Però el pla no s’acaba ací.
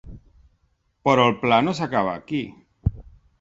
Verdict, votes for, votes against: accepted, 2, 1